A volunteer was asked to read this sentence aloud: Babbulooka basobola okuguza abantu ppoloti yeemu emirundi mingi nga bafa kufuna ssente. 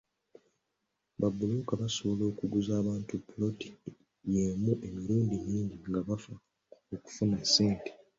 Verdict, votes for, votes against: accepted, 2, 0